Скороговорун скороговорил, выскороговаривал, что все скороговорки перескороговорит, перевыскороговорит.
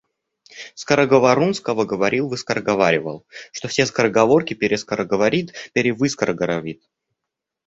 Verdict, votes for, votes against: rejected, 0, 2